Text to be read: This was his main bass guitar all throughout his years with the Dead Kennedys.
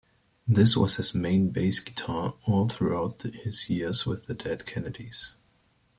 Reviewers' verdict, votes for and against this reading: accepted, 2, 0